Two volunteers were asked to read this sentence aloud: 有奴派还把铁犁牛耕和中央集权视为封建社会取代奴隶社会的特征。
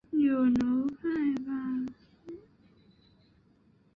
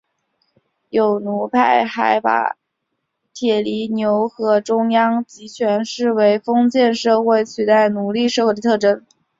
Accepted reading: second